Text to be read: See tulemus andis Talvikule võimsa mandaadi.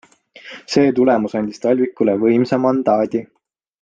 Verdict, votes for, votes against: accepted, 2, 0